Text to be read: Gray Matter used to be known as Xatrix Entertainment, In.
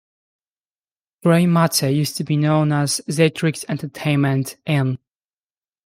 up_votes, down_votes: 2, 0